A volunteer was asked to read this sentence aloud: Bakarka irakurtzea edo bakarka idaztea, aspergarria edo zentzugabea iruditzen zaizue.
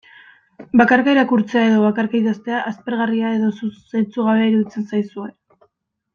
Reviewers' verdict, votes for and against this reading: rejected, 0, 2